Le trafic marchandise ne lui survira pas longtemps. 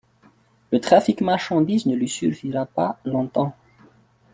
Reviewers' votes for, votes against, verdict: 1, 2, rejected